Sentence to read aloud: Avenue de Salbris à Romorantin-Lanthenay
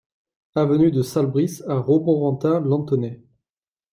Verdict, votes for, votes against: accepted, 2, 0